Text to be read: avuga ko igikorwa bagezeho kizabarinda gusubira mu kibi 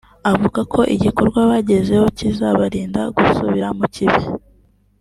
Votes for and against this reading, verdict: 2, 0, accepted